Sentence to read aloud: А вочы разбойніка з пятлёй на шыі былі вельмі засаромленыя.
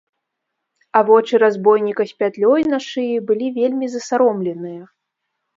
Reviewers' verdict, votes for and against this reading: accepted, 2, 0